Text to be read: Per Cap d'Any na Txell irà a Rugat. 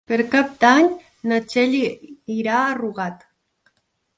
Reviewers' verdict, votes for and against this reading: rejected, 1, 2